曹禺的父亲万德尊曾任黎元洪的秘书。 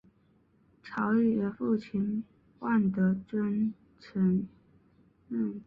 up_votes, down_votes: 0, 2